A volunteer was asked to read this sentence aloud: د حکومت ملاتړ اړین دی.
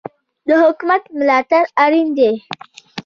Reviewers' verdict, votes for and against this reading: accepted, 2, 0